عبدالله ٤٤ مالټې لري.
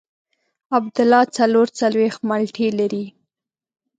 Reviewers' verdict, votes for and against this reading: rejected, 0, 2